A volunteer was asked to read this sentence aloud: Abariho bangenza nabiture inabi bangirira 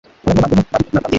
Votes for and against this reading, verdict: 1, 2, rejected